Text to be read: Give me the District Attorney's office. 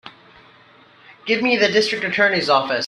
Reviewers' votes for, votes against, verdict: 3, 0, accepted